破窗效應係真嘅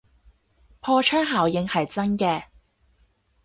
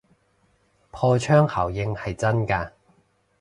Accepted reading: first